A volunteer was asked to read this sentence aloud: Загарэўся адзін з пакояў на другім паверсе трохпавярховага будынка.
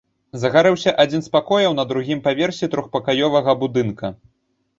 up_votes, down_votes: 0, 2